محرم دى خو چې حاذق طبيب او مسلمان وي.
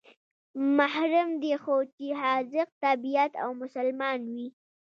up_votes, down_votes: 1, 2